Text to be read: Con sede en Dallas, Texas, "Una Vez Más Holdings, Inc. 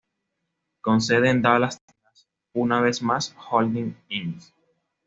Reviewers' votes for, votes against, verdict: 1, 2, rejected